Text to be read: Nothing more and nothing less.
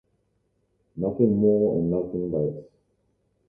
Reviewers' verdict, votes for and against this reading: rejected, 0, 2